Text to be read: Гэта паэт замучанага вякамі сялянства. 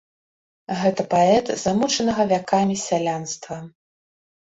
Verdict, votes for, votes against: accepted, 2, 0